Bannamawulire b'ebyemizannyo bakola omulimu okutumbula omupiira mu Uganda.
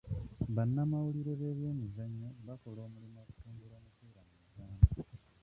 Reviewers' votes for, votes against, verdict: 0, 2, rejected